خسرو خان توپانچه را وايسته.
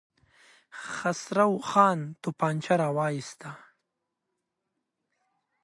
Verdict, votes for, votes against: accepted, 2, 0